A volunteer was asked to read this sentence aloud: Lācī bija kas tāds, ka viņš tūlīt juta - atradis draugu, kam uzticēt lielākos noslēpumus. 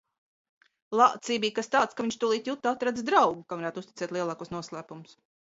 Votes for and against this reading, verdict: 1, 2, rejected